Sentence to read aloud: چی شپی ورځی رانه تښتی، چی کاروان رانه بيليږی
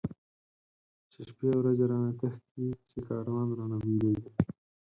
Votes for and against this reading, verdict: 4, 2, accepted